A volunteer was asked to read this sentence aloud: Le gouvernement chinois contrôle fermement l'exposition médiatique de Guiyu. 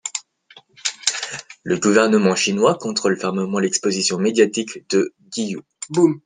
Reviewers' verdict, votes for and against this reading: rejected, 0, 2